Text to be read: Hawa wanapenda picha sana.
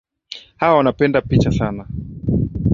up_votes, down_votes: 4, 0